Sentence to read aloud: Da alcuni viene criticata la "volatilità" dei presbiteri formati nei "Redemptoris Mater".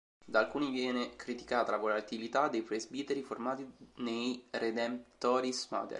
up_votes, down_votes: 1, 2